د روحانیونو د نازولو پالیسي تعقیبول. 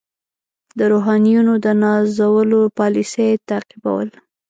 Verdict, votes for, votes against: rejected, 1, 2